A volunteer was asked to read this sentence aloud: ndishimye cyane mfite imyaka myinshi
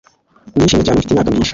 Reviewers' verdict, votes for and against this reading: rejected, 1, 2